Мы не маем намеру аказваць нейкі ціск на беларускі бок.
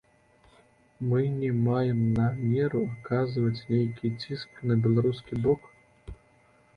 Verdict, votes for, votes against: accepted, 2, 1